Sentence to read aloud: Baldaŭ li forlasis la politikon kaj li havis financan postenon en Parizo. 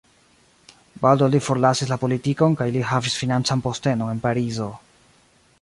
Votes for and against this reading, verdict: 2, 1, accepted